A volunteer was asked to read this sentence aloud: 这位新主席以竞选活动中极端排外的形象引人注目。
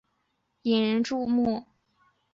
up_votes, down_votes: 0, 3